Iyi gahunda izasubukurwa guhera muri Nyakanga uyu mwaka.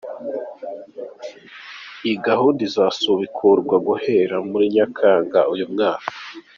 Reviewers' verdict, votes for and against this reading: accepted, 2, 0